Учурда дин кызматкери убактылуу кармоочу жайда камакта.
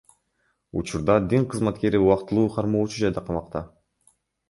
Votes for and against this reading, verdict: 1, 2, rejected